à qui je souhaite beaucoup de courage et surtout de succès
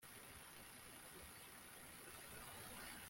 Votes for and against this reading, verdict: 0, 2, rejected